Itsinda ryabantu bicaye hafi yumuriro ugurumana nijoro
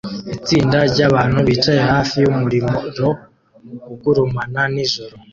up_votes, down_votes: 2, 0